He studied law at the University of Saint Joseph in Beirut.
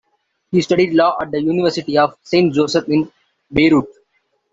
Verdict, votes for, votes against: accepted, 2, 1